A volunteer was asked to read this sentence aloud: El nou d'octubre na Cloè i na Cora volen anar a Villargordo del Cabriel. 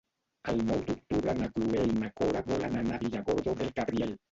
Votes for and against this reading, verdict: 1, 2, rejected